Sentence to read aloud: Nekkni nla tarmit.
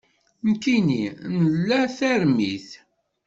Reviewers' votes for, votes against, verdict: 1, 2, rejected